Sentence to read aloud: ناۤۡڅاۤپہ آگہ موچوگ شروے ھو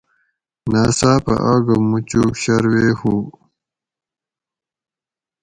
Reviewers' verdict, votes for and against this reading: accepted, 4, 0